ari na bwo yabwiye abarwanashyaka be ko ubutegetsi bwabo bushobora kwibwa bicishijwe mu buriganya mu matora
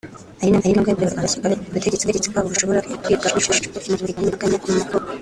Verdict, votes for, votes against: rejected, 1, 2